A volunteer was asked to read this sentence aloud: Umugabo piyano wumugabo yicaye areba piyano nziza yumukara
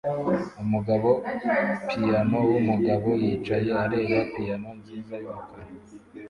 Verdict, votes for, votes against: rejected, 0, 2